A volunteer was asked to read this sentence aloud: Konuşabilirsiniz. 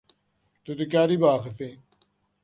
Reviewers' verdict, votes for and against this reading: rejected, 0, 2